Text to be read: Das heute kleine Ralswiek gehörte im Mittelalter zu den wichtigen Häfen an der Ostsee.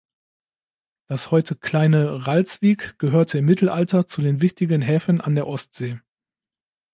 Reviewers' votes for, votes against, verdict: 2, 0, accepted